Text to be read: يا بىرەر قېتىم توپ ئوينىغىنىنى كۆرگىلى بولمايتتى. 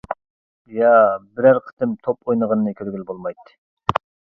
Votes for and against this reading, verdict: 2, 0, accepted